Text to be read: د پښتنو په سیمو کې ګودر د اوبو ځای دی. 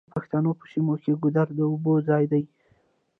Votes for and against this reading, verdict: 1, 2, rejected